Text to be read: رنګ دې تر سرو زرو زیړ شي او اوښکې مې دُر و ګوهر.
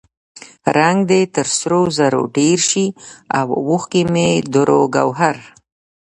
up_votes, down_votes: 1, 2